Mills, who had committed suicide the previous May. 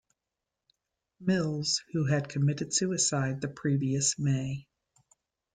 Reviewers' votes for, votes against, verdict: 2, 0, accepted